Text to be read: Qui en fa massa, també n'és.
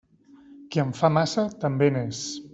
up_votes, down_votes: 2, 0